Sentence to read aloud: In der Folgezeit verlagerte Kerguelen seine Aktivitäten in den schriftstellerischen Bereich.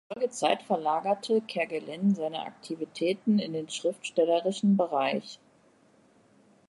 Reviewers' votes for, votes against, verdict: 0, 2, rejected